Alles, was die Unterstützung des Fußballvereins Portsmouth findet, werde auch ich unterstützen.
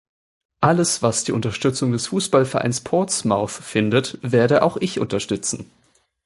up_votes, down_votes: 2, 0